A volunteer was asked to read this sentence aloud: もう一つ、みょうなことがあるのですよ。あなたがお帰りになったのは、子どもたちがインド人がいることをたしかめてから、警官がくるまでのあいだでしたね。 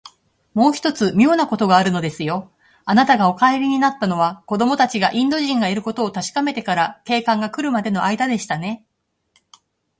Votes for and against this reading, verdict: 2, 0, accepted